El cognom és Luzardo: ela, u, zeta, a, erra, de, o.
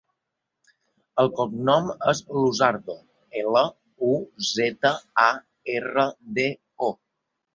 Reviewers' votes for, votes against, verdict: 2, 0, accepted